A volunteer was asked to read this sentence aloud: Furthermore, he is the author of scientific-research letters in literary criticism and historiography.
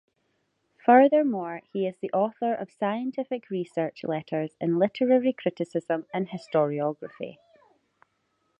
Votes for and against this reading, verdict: 2, 0, accepted